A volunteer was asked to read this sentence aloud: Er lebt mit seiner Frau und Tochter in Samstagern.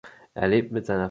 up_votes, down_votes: 0, 2